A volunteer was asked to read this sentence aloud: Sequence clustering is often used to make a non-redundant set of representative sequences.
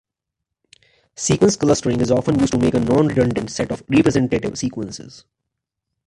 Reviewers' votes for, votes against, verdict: 1, 2, rejected